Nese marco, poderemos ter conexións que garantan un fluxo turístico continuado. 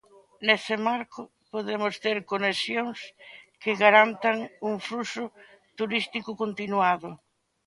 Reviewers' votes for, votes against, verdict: 2, 1, accepted